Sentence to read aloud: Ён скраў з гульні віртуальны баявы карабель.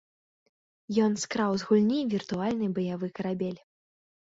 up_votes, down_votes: 2, 0